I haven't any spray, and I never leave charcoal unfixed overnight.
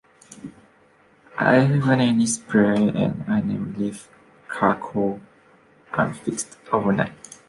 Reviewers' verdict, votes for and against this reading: rejected, 0, 2